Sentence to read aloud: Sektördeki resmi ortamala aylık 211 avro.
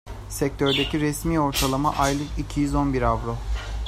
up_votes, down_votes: 0, 2